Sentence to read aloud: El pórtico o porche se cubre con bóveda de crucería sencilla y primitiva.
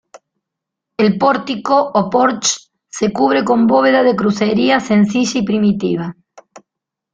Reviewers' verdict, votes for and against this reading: accepted, 2, 0